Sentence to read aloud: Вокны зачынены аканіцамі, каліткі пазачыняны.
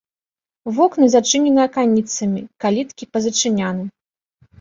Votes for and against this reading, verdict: 3, 0, accepted